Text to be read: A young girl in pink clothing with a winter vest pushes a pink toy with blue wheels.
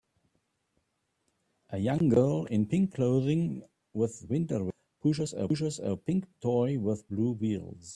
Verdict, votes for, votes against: rejected, 0, 2